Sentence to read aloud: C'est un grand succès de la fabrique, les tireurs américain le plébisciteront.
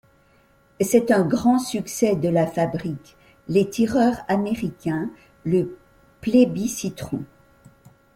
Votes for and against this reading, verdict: 2, 1, accepted